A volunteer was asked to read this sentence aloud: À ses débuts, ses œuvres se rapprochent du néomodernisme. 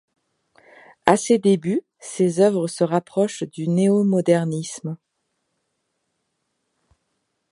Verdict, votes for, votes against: accepted, 2, 0